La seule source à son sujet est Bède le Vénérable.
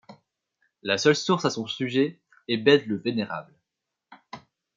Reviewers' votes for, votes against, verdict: 2, 0, accepted